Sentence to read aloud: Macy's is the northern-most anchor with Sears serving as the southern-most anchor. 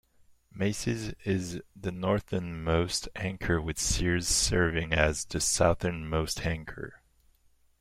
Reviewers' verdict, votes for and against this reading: rejected, 1, 2